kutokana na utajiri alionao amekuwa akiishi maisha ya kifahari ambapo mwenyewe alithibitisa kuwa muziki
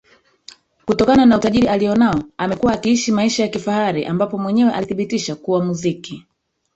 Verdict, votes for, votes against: rejected, 1, 2